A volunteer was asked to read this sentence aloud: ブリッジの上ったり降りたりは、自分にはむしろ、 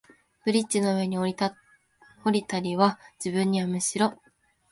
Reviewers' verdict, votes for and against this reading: rejected, 0, 3